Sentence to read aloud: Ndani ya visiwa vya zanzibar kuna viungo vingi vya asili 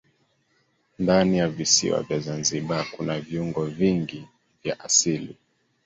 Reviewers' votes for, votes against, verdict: 2, 0, accepted